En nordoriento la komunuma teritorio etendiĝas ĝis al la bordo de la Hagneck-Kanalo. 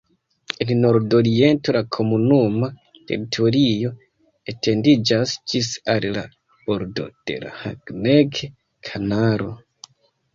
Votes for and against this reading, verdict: 1, 2, rejected